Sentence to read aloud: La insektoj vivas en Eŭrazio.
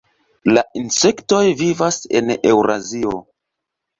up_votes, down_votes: 2, 0